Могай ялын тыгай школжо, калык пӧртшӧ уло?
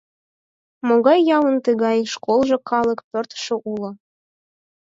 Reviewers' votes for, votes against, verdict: 4, 0, accepted